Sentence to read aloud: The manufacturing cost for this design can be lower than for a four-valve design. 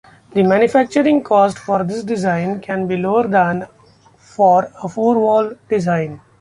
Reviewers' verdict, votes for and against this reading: rejected, 1, 2